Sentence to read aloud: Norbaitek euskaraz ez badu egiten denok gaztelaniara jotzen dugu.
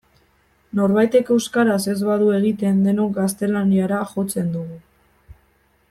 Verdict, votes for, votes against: accepted, 2, 0